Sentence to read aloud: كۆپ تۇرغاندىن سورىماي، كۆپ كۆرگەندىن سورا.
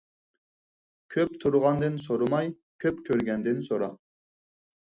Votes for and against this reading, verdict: 4, 0, accepted